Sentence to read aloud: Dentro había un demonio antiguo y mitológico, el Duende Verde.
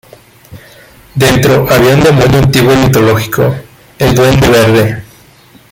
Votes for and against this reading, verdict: 1, 2, rejected